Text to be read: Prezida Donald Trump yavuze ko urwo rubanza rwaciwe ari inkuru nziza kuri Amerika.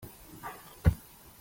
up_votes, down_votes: 0, 2